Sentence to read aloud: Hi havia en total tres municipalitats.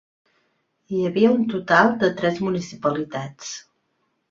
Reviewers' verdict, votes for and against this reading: rejected, 0, 3